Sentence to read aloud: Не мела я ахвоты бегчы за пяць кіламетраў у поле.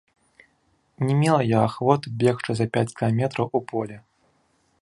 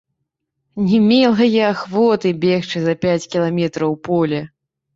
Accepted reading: first